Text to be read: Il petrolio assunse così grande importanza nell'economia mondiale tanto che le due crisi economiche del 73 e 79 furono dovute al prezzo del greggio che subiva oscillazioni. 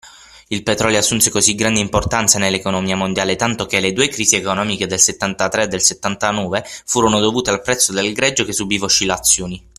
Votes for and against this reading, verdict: 0, 2, rejected